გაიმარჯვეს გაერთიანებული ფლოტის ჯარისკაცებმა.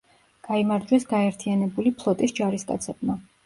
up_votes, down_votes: 2, 0